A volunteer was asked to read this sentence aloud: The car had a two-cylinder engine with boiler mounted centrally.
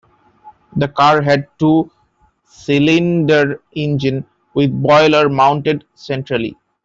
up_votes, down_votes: 0, 2